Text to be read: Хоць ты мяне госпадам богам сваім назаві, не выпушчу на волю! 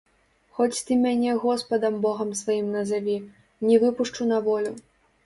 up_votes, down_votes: 1, 2